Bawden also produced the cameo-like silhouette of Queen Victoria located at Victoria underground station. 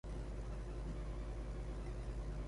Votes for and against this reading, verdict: 0, 2, rejected